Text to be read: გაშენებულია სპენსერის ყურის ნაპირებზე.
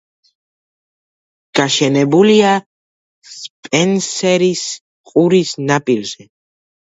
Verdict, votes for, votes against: rejected, 0, 2